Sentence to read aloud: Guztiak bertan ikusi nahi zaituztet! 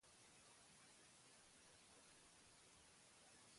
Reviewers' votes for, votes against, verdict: 0, 6, rejected